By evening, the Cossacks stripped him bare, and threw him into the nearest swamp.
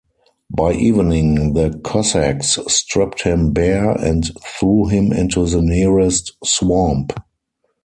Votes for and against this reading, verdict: 4, 0, accepted